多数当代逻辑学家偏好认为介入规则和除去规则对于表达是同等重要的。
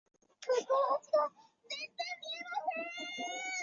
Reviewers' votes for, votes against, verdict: 0, 2, rejected